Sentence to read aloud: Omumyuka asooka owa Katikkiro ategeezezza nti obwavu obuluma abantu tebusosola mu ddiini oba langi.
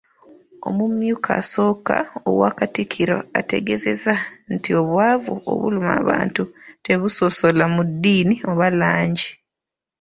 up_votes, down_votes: 3, 0